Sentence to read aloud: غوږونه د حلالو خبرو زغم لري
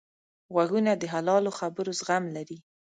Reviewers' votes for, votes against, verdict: 2, 0, accepted